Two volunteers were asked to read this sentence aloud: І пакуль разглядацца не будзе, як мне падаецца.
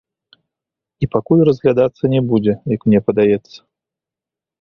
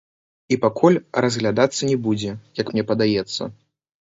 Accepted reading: first